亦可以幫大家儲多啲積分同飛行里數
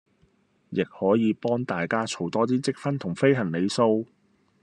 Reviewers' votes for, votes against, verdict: 1, 2, rejected